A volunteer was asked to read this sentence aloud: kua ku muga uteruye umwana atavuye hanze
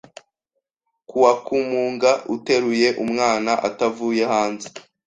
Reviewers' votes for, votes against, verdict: 2, 0, accepted